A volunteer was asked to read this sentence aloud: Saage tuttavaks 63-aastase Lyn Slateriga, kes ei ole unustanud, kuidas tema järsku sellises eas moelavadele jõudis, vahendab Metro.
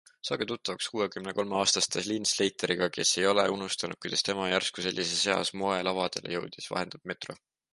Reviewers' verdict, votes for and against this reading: rejected, 0, 2